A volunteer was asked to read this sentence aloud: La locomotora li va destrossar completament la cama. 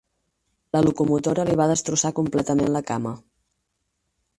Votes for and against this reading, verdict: 0, 4, rejected